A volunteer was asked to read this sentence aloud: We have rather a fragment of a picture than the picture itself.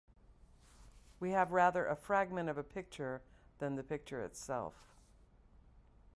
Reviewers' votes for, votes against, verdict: 2, 0, accepted